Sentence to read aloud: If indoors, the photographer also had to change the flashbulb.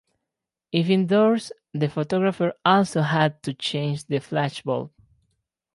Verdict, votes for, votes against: accepted, 4, 0